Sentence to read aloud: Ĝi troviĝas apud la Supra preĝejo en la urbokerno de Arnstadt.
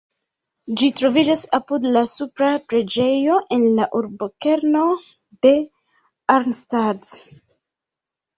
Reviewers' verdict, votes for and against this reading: accepted, 2, 1